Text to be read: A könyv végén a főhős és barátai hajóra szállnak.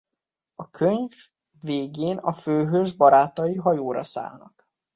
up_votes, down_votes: 0, 2